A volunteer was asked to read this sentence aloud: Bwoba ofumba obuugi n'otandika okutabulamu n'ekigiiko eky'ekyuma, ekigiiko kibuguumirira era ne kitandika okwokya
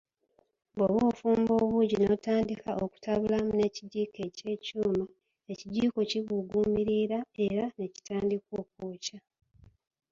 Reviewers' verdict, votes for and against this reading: rejected, 0, 2